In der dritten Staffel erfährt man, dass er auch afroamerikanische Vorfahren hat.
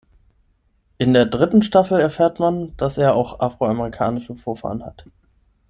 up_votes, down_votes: 6, 0